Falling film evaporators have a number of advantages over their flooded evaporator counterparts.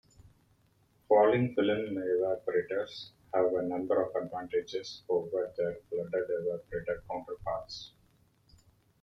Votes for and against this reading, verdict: 2, 1, accepted